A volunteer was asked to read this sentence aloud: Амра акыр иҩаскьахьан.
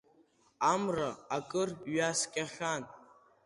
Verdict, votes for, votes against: accepted, 2, 0